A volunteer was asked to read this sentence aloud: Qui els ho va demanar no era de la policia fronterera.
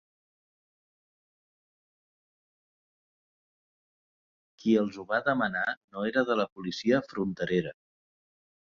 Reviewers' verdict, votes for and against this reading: rejected, 2, 4